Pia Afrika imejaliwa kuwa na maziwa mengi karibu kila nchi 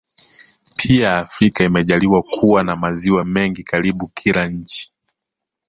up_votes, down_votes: 2, 1